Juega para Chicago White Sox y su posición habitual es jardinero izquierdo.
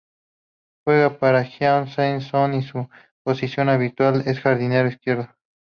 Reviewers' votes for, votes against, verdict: 0, 2, rejected